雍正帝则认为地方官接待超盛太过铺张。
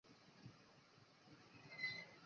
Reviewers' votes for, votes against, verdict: 0, 2, rejected